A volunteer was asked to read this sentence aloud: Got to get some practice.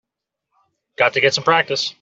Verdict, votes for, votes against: accepted, 2, 0